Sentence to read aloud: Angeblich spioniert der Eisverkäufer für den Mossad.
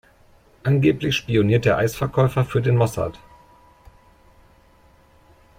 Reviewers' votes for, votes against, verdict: 2, 0, accepted